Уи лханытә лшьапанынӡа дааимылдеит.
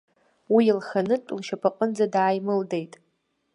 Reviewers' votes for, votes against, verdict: 2, 0, accepted